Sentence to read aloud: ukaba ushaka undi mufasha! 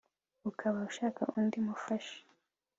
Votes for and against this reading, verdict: 2, 0, accepted